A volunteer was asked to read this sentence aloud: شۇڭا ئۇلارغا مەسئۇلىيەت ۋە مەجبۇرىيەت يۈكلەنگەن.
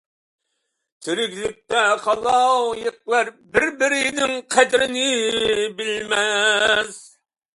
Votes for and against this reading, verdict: 0, 2, rejected